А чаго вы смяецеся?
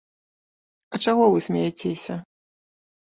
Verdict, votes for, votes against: accepted, 2, 1